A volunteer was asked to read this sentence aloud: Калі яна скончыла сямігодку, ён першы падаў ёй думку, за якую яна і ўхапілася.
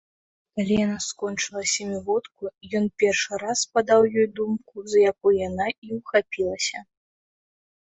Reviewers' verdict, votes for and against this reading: rejected, 1, 2